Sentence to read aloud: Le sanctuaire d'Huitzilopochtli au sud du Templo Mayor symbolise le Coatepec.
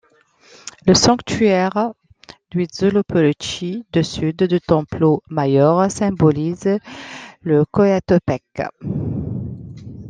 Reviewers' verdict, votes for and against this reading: rejected, 1, 2